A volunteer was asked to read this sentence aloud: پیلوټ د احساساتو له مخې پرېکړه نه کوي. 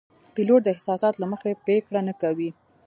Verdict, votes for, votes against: accepted, 2, 0